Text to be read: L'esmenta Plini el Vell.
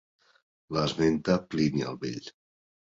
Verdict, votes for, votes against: accepted, 2, 0